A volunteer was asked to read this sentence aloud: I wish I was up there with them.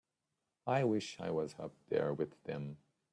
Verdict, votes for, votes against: accepted, 2, 0